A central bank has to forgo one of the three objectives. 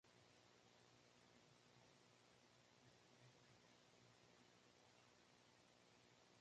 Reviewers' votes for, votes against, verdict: 0, 2, rejected